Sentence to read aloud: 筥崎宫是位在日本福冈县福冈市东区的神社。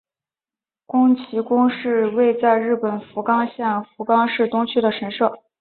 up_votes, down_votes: 2, 0